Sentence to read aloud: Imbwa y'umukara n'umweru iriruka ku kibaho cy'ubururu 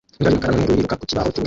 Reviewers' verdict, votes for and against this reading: rejected, 0, 2